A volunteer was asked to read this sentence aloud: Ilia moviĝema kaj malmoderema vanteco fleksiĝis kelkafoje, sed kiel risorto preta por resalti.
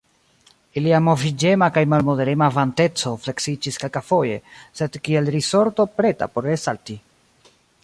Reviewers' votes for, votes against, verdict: 2, 1, accepted